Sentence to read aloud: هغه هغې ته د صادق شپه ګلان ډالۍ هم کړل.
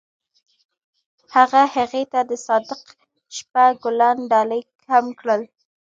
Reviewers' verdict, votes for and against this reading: accepted, 2, 0